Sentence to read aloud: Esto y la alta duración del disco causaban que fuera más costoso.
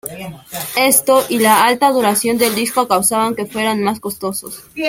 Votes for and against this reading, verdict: 1, 2, rejected